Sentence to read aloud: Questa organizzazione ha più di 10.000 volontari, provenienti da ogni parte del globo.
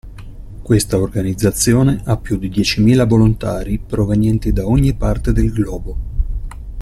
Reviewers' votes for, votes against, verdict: 0, 2, rejected